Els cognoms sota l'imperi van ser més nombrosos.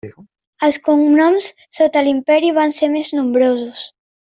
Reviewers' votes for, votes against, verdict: 3, 0, accepted